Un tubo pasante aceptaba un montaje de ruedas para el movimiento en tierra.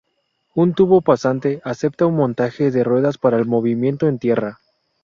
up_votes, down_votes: 0, 2